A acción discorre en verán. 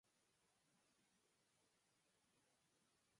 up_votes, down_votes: 0, 4